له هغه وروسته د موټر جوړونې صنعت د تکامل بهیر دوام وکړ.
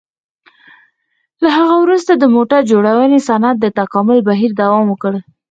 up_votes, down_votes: 2, 4